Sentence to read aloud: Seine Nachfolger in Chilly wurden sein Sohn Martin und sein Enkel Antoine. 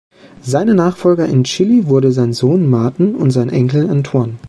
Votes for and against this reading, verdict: 1, 2, rejected